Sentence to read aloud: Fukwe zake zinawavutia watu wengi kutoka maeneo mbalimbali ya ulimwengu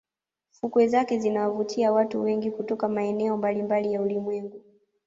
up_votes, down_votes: 2, 0